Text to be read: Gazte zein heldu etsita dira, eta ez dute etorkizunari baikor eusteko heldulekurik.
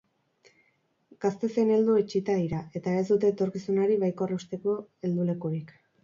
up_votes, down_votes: 2, 2